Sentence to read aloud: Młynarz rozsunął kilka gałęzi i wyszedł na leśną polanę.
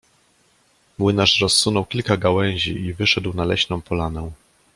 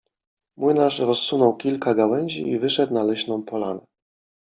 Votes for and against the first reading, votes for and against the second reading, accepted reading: 2, 0, 0, 2, first